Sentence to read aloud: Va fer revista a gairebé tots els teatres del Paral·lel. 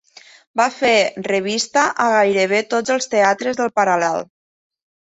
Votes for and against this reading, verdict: 3, 0, accepted